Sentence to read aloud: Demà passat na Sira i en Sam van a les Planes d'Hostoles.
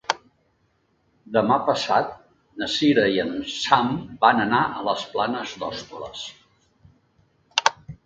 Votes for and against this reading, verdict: 1, 2, rejected